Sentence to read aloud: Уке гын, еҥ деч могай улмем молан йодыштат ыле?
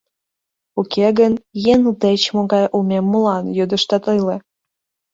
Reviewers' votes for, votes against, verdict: 0, 2, rejected